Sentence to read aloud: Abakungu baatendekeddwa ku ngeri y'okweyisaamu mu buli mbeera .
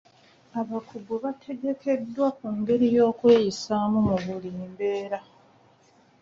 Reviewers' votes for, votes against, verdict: 0, 2, rejected